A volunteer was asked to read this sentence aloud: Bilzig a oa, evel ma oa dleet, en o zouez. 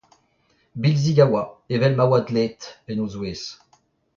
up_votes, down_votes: 2, 1